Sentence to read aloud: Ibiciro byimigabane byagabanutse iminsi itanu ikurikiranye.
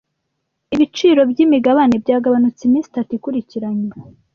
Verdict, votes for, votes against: rejected, 1, 2